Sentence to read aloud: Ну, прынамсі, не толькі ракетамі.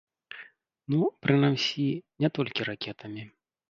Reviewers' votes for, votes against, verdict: 1, 2, rejected